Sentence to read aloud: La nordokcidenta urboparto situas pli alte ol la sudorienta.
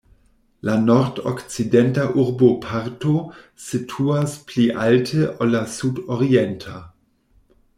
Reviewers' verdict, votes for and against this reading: accepted, 2, 0